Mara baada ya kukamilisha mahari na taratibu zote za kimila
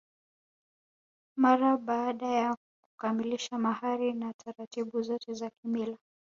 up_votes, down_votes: 1, 2